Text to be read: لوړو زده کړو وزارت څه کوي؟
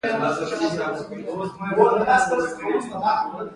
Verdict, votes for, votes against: accepted, 2, 0